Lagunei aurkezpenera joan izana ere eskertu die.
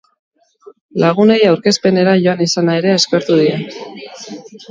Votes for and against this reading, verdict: 0, 2, rejected